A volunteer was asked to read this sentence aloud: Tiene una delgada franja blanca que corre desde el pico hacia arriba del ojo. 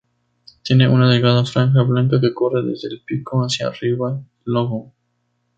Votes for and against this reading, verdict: 0, 4, rejected